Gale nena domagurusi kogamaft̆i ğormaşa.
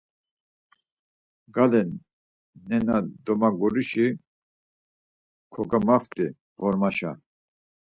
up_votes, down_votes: 4, 0